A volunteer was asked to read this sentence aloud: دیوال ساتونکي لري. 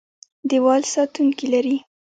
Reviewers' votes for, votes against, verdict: 0, 2, rejected